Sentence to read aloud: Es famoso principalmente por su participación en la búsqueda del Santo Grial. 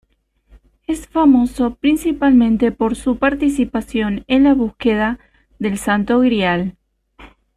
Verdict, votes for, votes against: accepted, 2, 0